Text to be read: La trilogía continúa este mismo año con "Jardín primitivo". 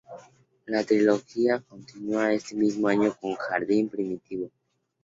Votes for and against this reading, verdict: 2, 0, accepted